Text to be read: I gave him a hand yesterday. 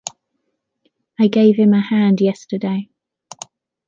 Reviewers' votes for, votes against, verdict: 2, 0, accepted